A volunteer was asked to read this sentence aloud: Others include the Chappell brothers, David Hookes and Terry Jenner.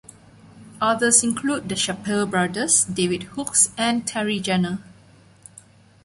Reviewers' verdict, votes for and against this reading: accepted, 2, 0